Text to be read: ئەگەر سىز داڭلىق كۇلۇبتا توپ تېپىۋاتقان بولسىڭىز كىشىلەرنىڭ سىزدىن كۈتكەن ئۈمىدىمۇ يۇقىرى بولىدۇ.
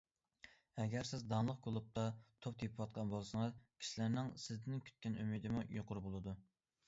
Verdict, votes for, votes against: accepted, 2, 0